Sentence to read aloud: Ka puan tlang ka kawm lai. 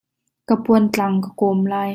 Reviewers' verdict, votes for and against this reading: accepted, 2, 0